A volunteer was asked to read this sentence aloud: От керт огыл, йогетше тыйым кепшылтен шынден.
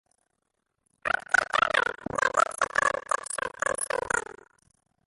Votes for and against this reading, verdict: 0, 2, rejected